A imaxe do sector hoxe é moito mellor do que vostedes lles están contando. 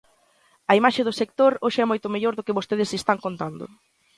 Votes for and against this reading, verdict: 0, 2, rejected